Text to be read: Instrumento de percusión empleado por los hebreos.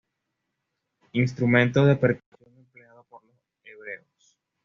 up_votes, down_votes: 1, 2